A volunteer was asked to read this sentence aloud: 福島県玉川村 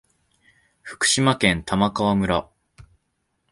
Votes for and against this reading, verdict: 2, 0, accepted